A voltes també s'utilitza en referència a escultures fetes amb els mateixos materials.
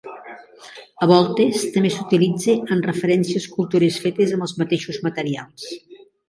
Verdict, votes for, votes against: rejected, 2, 3